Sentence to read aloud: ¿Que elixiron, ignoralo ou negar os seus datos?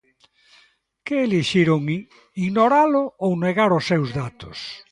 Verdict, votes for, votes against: rejected, 1, 2